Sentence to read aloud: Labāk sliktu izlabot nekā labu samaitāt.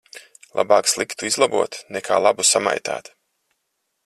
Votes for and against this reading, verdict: 4, 0, accepted